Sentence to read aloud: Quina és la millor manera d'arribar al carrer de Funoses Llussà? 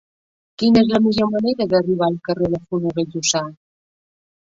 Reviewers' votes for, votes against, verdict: 2, 0, accepted